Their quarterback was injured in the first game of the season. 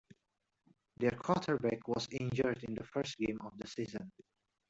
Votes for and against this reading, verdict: 2, 0, accepted